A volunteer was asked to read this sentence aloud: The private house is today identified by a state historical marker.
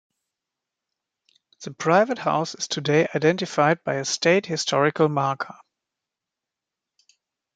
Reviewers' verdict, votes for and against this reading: accepted, 2, 0